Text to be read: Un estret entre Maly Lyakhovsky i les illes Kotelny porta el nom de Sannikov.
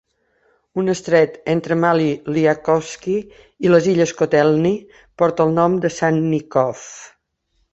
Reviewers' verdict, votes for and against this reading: accepted, 2, 1